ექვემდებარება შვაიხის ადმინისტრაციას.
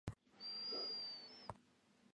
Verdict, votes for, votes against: rejected, 0, 2